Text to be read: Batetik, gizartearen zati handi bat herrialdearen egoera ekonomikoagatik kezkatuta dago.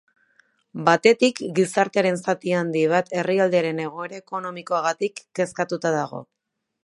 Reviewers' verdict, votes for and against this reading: accepted, 3, 0